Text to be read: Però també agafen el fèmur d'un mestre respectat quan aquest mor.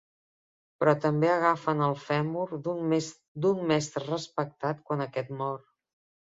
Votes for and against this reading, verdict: 0, 2, rejected